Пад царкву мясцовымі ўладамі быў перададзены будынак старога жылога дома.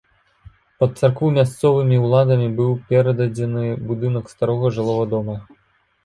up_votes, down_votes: 2, 3